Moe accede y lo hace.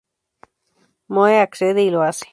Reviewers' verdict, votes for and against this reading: rejected, 0, 2